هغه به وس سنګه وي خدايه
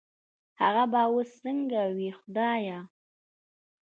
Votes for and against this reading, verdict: 2, 0, accepted